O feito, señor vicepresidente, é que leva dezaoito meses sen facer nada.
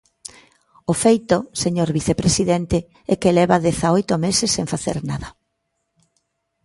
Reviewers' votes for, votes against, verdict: 2, 0, accepted